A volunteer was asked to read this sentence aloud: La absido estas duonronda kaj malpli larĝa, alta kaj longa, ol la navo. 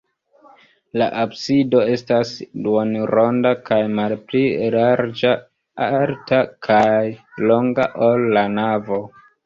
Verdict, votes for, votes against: rejected, 0, 2